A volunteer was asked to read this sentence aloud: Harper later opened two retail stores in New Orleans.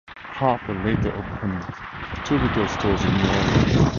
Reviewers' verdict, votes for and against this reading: rejected, 0, 2